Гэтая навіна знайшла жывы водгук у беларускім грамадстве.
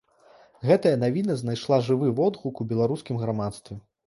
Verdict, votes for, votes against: rejected, 1, 2